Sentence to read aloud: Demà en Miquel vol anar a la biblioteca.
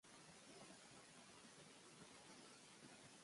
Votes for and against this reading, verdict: 0, 2, rejected